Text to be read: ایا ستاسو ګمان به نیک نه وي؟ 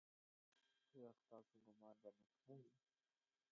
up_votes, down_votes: 1, 2